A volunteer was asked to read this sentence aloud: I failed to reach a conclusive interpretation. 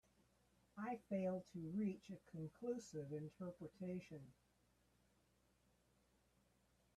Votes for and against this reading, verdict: 3, 1, accepted